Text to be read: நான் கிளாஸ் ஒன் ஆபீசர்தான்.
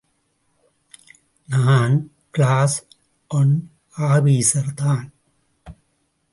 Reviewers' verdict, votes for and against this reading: accepted, 2, 0